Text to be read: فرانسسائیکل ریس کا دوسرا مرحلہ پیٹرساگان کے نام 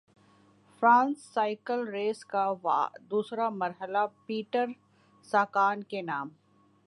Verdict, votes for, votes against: accepted, 3, 1